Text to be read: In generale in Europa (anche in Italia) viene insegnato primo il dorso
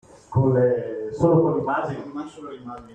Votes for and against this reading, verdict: 0, 2, rejected